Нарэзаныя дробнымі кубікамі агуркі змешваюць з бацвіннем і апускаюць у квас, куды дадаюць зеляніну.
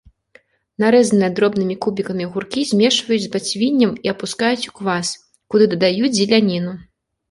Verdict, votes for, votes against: accepted, 2, 0